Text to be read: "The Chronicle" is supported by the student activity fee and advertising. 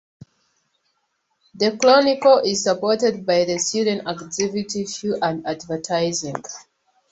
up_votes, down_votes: 2, 0